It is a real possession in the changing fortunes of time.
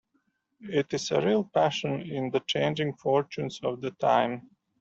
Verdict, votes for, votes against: rejected, 0, 2